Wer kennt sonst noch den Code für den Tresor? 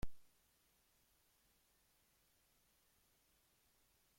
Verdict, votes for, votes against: rejected, 0, 2